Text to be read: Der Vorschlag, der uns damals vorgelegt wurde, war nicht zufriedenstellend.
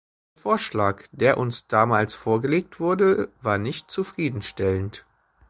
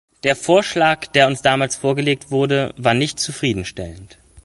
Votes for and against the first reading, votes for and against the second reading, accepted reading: 0, 2, 3, 0, second